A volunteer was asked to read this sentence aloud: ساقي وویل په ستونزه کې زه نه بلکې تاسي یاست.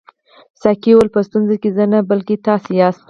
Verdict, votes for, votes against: accepted, 4, 0